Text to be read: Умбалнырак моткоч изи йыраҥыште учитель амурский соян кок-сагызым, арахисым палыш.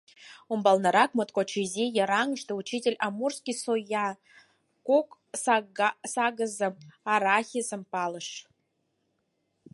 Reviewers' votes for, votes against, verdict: 0, 4, rejected